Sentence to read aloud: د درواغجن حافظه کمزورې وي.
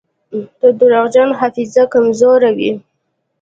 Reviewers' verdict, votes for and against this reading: accepted, 2, 0